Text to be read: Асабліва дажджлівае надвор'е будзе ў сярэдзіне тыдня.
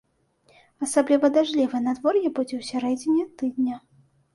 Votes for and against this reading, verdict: 2, 0, accepted